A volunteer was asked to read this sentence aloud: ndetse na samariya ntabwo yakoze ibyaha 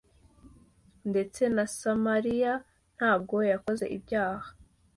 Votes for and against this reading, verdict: 2, 0, accepted